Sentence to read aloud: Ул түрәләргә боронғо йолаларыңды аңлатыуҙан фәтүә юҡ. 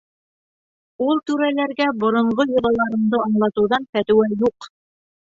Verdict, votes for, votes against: accepted, 3, 0